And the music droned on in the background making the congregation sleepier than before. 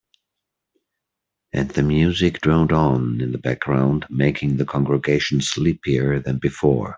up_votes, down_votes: 3, 0